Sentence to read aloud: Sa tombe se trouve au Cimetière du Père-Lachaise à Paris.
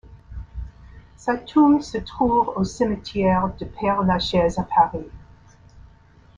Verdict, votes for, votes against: accepted, 2, 0